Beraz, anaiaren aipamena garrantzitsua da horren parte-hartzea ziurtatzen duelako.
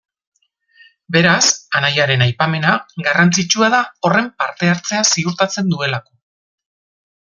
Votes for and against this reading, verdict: 2, 0, accepted